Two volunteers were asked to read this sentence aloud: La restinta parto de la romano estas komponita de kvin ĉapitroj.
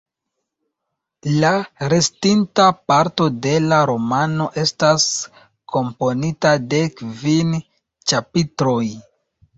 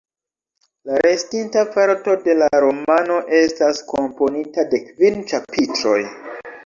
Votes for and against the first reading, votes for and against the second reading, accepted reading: 2, 0, 1, 2, first